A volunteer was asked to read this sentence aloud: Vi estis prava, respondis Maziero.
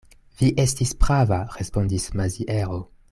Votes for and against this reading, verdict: 1, 2, rejected